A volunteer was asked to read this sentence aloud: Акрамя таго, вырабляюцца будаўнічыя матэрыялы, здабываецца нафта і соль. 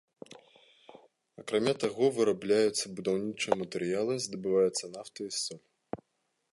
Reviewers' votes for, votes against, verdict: 3, 0, accepted